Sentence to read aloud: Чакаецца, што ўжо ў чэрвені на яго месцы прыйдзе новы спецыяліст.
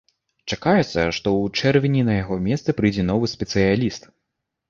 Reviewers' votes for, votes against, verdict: 1, 2, rejected